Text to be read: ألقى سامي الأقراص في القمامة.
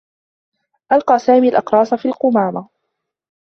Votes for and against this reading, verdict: 2, 0, accepted